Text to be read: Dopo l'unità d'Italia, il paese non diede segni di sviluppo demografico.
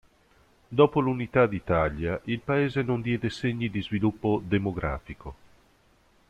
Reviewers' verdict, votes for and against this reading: accepted, 2, 0